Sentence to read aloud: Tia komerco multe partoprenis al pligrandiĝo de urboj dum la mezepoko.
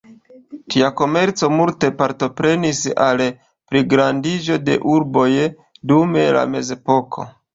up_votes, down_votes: 2, 0